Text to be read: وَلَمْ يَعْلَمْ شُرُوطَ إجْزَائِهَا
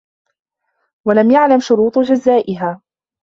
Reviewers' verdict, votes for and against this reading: rejected, 0, 2